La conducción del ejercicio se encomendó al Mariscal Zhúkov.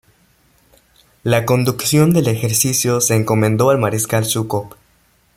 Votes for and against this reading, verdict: 2, 0, accepted